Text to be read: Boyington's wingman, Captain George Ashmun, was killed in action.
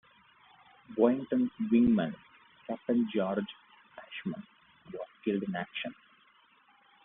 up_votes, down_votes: 2, 1